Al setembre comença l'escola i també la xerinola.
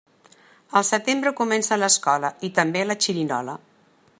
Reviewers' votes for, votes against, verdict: 0, 2, rejected